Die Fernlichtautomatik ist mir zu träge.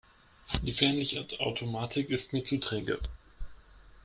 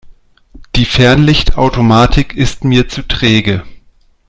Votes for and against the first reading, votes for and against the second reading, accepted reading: 1, 2, 2, 0, second